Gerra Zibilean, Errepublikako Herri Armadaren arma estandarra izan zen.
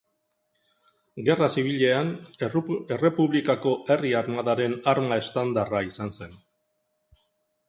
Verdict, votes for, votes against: rejected, 1, 2